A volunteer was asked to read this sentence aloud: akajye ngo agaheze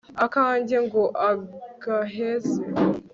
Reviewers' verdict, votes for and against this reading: rejected, 1, 2